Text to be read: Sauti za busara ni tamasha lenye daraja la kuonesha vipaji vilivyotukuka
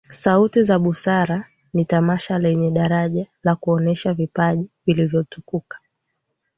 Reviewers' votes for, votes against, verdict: 13, 0, accepted